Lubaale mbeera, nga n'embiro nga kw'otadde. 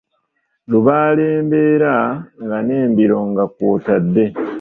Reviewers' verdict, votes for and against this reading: rejected, 0, 2